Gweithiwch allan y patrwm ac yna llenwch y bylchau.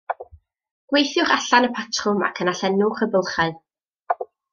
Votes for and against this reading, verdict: 2, 0, accepted